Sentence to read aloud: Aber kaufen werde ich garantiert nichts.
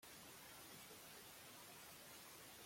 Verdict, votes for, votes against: rejected, 0, 2